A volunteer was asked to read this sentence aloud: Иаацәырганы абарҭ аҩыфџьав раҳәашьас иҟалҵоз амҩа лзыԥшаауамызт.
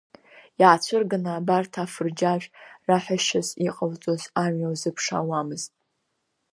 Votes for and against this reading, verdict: 1, 2, rejected